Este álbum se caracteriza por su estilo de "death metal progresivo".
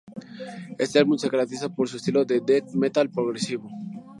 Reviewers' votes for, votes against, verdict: 4, 0, accepted